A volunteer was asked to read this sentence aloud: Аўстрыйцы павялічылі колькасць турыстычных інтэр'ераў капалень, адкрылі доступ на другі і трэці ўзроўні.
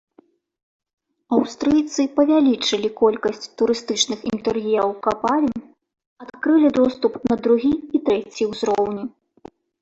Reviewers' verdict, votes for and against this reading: rejected, 1, 2